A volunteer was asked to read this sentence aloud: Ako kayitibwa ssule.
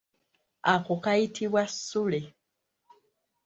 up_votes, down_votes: 2, 0